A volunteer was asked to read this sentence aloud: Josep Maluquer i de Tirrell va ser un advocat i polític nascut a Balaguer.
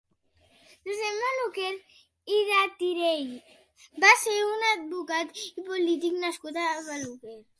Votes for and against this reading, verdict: 0, 3, rejected